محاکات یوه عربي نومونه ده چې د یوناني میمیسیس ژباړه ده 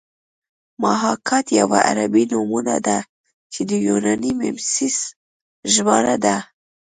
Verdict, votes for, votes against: accepted, 2, 0